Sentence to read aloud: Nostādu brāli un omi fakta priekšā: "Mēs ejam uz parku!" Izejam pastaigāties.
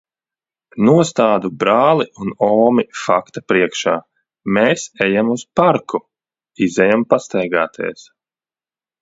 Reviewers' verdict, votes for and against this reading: rejected, 0, 2